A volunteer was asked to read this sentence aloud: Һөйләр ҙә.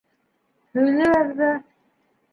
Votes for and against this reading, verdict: 0, 2, rejected